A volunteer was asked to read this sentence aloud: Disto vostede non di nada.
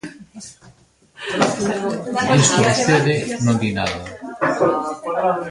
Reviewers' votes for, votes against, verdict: 0, 2, rejected